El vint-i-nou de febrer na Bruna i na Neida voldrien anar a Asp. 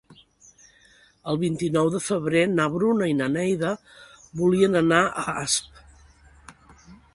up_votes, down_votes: 1, 2